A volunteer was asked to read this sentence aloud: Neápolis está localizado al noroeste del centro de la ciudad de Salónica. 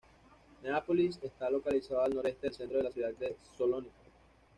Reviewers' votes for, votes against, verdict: 1, 2, rejected